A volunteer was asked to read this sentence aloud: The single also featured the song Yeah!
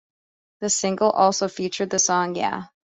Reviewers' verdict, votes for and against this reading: accepted, 2, 0